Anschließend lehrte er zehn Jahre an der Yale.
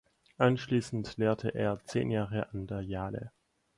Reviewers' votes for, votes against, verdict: 0, 4, rejected